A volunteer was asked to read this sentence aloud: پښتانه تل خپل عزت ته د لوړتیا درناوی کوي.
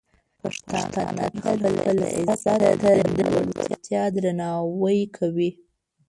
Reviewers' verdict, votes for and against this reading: rejected, 0, 2